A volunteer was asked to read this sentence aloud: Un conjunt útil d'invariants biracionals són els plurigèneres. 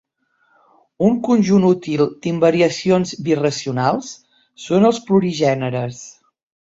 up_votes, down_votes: 0, 2